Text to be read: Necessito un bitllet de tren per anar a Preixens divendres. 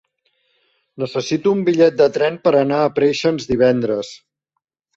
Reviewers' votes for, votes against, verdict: 1, 2, rejected